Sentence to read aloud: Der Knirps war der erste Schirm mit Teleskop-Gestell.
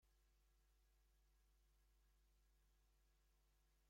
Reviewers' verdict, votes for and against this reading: rejected, 0, 2